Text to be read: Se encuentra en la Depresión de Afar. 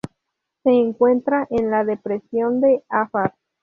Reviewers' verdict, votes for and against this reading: rejected, 0, 2